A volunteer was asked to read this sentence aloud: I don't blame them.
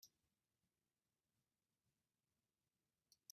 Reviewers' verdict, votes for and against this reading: rejected, 0, 2